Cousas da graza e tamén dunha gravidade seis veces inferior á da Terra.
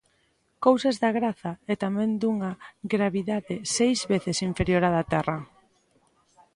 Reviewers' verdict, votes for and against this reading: accepted, 2, 0